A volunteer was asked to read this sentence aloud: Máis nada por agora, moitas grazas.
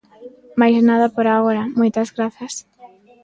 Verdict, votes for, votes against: accepted, 2, 0